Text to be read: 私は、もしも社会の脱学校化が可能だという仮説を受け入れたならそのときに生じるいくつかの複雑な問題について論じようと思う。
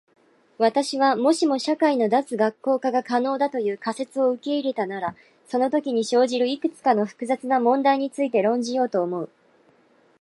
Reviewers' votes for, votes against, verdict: 2, 0, accepted